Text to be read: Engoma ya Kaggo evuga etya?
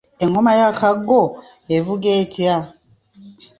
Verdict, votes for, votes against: accepted, 2, 0